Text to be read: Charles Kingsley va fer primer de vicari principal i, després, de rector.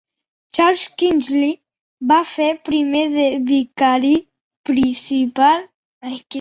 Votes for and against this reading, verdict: 0, 2, rejected